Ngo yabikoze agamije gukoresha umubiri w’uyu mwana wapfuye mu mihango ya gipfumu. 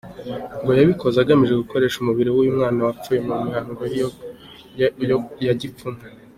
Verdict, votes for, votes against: accepted, 2, 0